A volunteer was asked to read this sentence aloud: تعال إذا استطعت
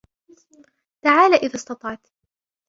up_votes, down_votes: 2, 3